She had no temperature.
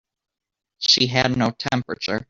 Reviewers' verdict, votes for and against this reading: accepted, 2, 0